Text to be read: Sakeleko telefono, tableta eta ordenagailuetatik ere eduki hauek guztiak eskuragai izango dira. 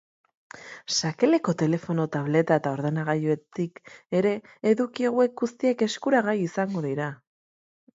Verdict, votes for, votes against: rejected, 0, 2